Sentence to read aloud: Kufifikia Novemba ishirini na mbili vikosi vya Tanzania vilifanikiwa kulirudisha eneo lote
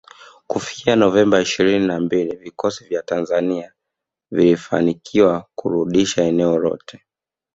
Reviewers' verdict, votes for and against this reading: rejected, 1, 2